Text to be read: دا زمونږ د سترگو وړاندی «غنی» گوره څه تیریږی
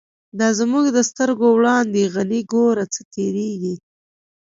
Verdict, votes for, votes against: accepted, 2, 1